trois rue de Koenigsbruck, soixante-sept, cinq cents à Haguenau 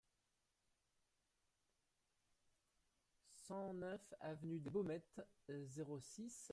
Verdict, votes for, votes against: rejected, 0, 2